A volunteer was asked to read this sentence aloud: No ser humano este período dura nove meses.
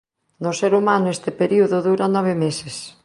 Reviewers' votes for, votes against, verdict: 2, 0, accepted